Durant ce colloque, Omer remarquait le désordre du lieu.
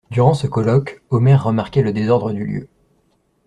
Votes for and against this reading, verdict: 2, 0, accepted